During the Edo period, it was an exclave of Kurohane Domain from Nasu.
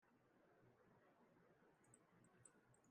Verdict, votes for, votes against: rejected, 0, 2